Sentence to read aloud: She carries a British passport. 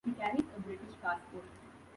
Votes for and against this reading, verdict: 1, 2, rejected